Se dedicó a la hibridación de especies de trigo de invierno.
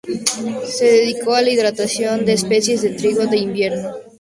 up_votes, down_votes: 2, 0